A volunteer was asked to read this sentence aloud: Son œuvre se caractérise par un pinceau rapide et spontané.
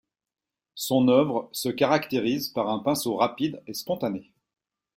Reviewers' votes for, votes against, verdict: 3, 0, accepted